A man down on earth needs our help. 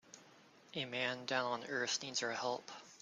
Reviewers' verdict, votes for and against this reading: accepted, 2, 1